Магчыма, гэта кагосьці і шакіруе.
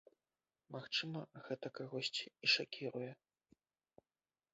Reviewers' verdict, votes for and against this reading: rejected, 1, 2